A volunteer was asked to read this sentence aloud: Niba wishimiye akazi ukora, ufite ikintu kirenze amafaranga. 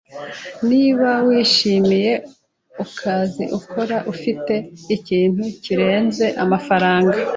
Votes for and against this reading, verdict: 1, 2, rejected